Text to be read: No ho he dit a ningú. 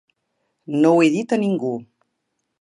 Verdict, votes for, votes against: accepted, 5, 0